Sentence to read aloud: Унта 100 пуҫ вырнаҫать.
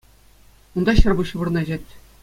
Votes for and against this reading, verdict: 0, 2, rejected